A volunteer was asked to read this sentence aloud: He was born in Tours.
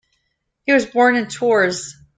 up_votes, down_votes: 2, 0